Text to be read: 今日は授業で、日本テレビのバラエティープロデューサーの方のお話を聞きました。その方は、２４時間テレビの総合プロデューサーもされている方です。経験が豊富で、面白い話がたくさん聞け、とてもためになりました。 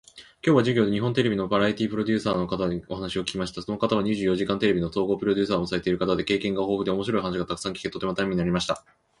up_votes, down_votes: 0, 2